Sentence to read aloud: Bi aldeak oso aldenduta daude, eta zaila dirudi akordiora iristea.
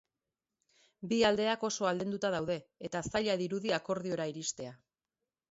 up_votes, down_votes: 2, 0